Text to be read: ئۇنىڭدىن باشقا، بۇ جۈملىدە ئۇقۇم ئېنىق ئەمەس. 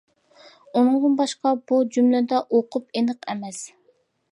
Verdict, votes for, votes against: rejected, 0, 2